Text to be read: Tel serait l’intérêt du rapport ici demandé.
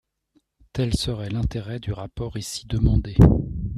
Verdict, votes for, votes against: accepted, 2, 0